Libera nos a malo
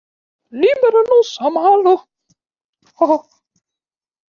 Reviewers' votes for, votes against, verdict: 0, 2, rejected